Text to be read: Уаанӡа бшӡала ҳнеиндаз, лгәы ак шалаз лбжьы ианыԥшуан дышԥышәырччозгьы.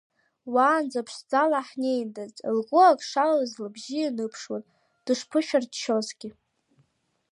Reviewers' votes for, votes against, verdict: 1, 2, rejected